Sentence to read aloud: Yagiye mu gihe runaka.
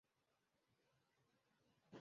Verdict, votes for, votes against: rejected, 0, 2